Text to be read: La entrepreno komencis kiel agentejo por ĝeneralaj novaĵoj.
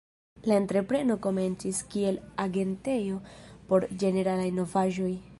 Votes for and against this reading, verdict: 2, 0, accepted